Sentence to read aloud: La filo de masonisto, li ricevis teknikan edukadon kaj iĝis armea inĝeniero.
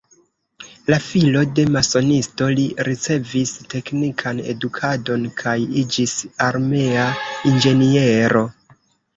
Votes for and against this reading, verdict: 2, 0, accepted